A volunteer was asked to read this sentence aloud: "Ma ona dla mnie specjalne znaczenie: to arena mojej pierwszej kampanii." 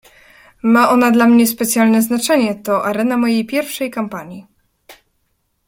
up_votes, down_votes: 2, 0